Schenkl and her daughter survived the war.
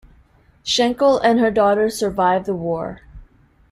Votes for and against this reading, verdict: 2, 0, accepted